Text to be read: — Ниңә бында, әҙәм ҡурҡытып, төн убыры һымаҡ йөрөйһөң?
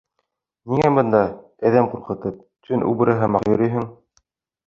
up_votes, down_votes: 2, 0